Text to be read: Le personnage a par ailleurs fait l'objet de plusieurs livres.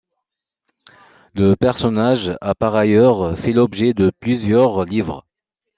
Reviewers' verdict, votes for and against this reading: accepted, 2, 0